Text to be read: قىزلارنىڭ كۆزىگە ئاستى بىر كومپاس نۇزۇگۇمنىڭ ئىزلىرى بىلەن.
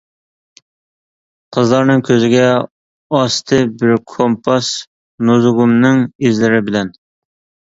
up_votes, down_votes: 2, 0